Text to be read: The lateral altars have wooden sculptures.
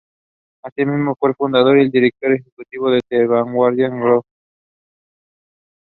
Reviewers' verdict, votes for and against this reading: rejected, 0, 2